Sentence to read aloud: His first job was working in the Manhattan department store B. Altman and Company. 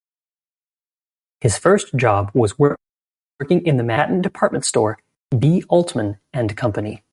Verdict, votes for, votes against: rejected, 1, 2